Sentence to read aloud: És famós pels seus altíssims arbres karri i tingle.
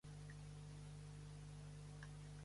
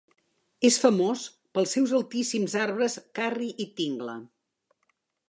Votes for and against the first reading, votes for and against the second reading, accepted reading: 1, 2, 2, 1, second